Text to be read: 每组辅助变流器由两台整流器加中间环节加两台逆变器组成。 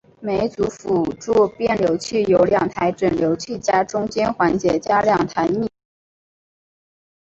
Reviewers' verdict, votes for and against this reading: rejected, 1, 3